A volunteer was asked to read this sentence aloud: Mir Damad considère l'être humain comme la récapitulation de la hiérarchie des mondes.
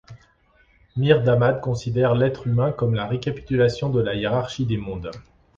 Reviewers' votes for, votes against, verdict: 3, 0, accepted